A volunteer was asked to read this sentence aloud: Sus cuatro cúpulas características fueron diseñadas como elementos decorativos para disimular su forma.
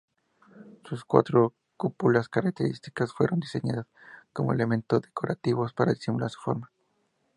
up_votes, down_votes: 2, 0